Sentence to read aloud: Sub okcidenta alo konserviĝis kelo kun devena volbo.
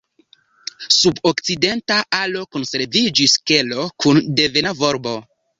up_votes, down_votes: 2, 1